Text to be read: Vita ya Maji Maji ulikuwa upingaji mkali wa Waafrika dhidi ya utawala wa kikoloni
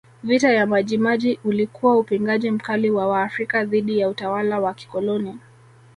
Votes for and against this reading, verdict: 1, 2, rejected